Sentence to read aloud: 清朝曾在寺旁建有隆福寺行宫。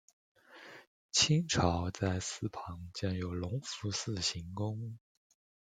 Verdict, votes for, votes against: rejected, 0, 2